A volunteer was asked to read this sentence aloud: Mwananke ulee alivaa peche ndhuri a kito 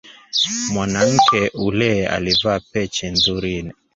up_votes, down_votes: 2, 3